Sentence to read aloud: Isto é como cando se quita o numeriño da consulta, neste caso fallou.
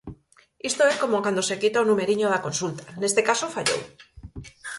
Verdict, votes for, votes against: accepted, 4, 0